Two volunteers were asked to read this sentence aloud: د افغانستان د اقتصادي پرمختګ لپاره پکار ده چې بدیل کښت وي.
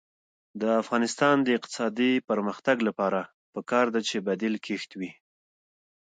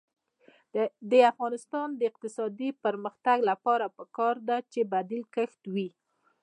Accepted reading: first